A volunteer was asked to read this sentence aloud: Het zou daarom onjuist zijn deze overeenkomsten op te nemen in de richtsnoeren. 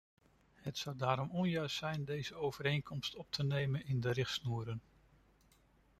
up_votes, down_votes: 2, 0